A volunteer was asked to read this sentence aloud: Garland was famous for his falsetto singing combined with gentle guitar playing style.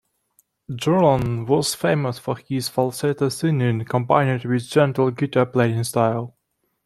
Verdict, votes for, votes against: accepted, 2, 1